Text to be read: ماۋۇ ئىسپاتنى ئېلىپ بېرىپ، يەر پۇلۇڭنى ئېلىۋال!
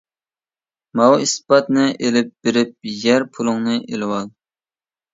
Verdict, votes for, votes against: accepted, 2, 0